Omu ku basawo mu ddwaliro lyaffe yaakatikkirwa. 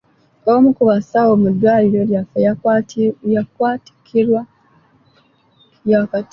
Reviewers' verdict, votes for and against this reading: rejected, 0, 3